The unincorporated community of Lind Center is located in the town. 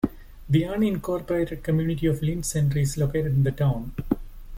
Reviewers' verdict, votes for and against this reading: accepted, 2, 0